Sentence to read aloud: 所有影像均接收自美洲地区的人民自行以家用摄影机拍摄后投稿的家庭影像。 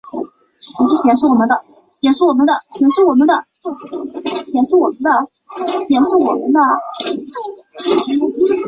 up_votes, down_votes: 0, 2